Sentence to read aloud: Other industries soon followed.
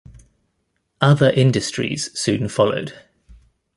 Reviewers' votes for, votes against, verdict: 2, 0, accepted